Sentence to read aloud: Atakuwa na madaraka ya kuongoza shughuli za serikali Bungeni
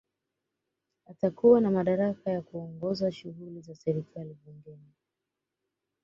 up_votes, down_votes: 2, 0